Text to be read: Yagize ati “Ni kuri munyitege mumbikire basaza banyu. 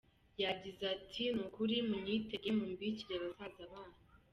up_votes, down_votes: 2, 0